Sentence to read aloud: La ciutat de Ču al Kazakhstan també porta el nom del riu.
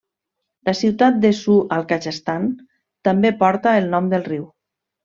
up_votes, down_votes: 2, 0